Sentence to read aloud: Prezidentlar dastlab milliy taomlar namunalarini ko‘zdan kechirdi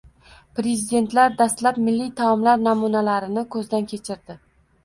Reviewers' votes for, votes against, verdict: 1, 2, rejected